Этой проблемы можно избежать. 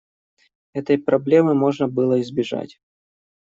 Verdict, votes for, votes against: rejected, 1, 2